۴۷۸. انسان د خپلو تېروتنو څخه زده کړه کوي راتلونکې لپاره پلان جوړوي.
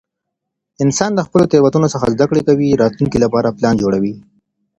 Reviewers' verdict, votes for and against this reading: rejected, 0, 2